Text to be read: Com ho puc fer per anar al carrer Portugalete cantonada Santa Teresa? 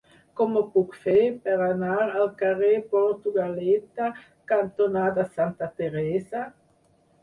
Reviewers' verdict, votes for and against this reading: rejected, 0, 4